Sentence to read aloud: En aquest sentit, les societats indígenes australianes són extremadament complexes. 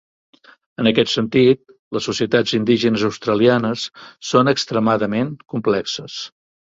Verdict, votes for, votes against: accepted, 3, 0